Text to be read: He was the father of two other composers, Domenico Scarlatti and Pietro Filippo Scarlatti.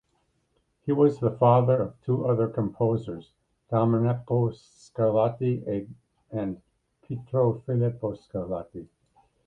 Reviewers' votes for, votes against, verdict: 1, 2, rejected